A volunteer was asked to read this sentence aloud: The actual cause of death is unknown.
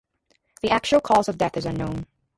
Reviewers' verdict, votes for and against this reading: rejected, 0, 2